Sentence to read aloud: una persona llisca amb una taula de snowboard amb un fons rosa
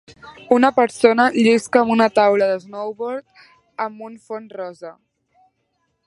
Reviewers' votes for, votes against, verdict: 3, 0, accepted